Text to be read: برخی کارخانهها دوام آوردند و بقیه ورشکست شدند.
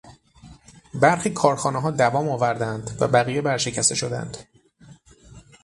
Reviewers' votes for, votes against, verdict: 0, 3, rejected